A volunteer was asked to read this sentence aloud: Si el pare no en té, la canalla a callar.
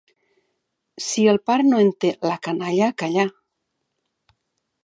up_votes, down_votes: 2, 1